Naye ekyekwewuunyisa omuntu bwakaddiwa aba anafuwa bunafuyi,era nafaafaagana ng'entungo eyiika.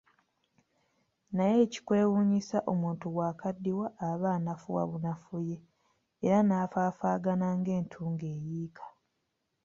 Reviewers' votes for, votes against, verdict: 2, 1, accepted